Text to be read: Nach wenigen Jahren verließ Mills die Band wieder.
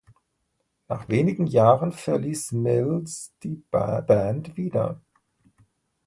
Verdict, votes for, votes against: rejected, 0, 2